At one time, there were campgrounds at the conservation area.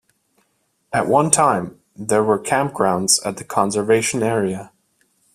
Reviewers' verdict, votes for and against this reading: rejected, 0, 2